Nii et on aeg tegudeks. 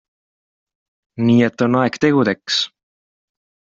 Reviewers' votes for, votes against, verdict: 2, 0, accepted